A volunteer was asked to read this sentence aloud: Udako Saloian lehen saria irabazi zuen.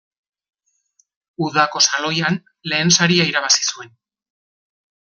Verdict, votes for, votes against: accepted, 2, 0